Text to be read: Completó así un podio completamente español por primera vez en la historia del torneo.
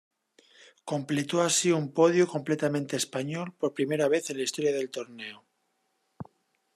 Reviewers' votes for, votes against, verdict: 2, 0, accepted